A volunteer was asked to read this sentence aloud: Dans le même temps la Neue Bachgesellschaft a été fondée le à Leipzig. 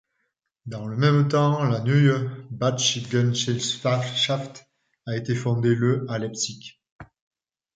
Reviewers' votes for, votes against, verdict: 0, 2, rejected